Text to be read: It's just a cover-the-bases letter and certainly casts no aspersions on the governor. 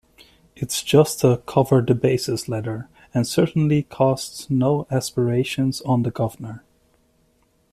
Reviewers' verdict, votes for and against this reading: rejected, 0, 2